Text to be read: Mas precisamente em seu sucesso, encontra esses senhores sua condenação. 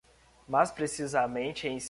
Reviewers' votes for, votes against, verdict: 1, 2, rejected